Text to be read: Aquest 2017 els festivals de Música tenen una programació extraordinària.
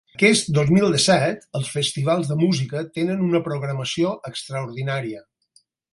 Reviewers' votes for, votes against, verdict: 0, 2, rejected